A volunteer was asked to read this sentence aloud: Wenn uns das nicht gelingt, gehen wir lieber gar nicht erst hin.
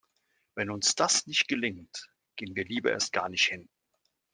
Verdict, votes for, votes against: rejected, 0, 2